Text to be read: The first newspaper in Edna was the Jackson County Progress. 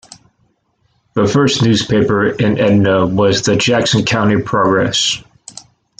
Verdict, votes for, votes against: accepted, 2, 1